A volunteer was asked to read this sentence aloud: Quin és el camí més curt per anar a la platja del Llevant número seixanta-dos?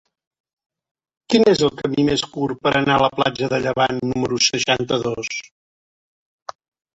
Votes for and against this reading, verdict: 1, 2, rejected